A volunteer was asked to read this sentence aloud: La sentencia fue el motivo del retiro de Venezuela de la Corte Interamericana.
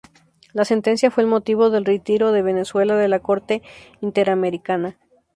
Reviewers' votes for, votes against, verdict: 6, 0, accepted